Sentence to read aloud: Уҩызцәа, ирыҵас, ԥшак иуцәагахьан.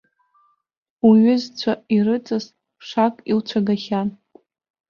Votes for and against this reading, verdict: 1, 2, rejected